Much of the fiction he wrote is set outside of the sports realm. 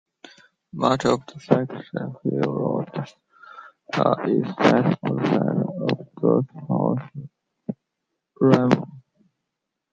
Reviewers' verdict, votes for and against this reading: rejected, 0, 2